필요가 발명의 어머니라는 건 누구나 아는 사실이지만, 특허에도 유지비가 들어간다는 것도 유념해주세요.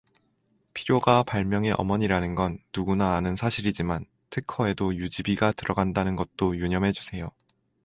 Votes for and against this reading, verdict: 4, 0, accepted